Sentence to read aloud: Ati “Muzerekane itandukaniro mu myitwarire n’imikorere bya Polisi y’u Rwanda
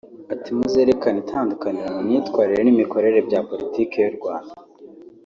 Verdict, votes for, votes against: rejected, 0, 2